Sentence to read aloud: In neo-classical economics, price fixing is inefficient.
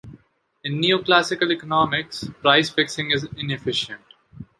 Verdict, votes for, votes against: accepted, 2, 0